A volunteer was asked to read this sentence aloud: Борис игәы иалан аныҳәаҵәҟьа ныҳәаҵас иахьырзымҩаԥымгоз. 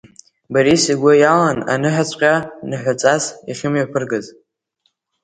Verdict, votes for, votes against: rejected, 1, 2